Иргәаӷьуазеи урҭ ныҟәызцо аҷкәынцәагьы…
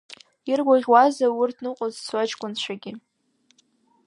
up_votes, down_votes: 2, 0